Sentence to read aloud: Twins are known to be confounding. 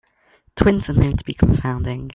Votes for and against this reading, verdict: 2, 1, accepted